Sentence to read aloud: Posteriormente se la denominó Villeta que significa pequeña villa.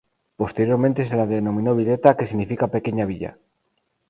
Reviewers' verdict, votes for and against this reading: accepted, 2, 0